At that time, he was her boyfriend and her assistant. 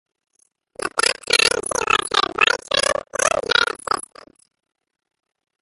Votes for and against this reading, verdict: 0, 2, rejected